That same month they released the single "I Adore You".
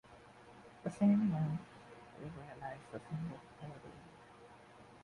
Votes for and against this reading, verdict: 0, 2, rejected